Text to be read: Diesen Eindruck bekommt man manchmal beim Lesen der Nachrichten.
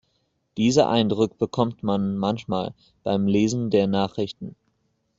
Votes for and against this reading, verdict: 0, 2, rejected